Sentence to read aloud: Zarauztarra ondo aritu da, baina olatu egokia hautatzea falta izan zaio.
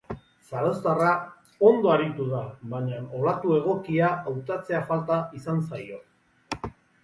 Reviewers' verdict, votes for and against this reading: rejected, 0, 2